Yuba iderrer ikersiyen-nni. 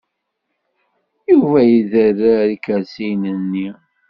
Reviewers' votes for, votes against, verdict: 2, 1, accepted